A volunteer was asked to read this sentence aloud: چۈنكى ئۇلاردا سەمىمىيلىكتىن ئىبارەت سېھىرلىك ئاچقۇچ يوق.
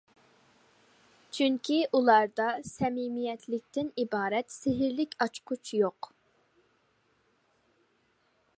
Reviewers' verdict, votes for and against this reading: rejected, 0, 2